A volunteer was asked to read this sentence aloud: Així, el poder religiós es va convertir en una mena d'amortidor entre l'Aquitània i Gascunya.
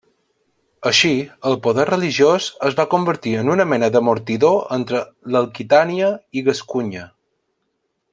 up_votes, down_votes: 2, 1